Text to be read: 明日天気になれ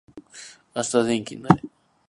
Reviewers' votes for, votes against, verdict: 2, 0, accepted